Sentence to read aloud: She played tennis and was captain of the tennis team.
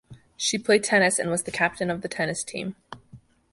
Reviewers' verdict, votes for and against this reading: accepted, 2, 0